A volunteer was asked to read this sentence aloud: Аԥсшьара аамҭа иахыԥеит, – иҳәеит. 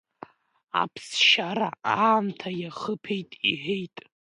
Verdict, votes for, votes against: accepted, 2, 1